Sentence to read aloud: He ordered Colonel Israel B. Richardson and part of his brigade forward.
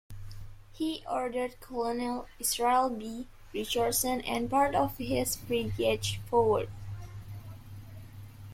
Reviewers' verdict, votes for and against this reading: rejected, 0, 2